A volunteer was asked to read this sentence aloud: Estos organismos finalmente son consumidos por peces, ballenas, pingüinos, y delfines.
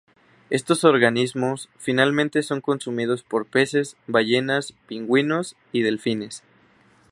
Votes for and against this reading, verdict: 2, 0, accepted